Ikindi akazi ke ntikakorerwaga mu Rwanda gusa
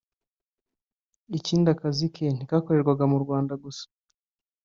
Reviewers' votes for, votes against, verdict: 2, 0, accepted